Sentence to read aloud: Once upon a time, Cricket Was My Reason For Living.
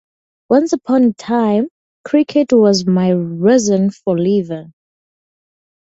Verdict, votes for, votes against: rejected, 2, 2